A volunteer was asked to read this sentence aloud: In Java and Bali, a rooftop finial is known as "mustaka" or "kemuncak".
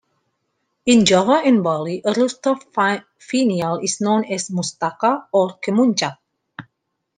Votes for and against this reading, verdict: 2, 1, accepted